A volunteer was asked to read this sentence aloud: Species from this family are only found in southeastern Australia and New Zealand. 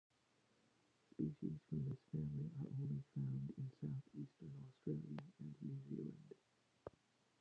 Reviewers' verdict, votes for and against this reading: rejected, 0, 2